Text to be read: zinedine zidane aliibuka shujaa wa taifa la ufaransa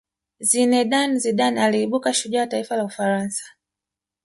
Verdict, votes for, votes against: rejected, 0, 2